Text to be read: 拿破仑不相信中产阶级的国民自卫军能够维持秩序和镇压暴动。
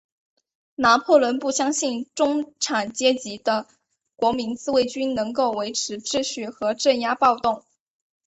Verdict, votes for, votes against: accepted, 3, 0